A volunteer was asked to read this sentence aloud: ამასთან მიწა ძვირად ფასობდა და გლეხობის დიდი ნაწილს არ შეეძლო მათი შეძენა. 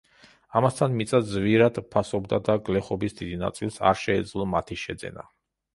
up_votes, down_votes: 2, 0